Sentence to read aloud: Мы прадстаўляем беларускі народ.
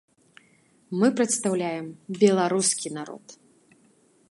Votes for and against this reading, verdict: 1, 2, rejected